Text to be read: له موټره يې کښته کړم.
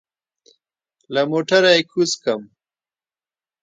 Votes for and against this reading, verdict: 1, 2, rejected